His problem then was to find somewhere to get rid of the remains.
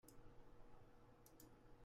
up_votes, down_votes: 0, 2